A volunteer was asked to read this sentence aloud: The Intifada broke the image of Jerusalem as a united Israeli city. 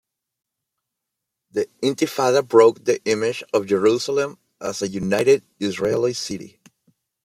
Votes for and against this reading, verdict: 2, 1, accepted